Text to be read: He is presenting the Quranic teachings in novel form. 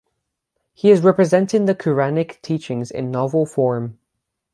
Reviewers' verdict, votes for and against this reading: rejected, 0, 6